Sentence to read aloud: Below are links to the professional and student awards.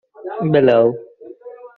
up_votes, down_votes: 0, 2